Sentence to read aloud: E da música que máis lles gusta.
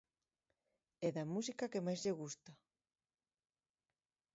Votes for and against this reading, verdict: 2, 1, accepted